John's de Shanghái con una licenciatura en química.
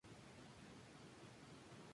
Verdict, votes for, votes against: rejected, 0, 2